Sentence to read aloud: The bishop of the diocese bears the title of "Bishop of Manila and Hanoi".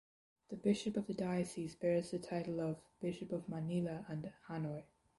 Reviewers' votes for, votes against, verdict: 0, 2, rejected